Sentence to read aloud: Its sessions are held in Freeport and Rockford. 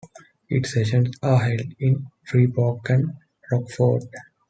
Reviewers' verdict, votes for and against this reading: accepted, 2, 0